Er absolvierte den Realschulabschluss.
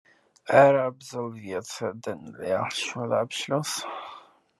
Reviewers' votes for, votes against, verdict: 2, 0, accepted